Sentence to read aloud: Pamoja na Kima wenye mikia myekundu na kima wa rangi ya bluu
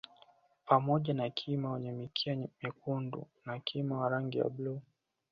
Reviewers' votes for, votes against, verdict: 2, 1, accepted